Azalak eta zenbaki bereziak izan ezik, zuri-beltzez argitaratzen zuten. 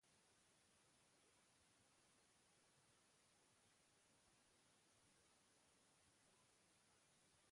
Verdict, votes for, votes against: rejected, 0, 2